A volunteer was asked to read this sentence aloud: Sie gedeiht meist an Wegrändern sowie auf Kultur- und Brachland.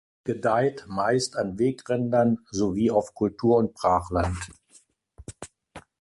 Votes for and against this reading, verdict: 0, 2, rejected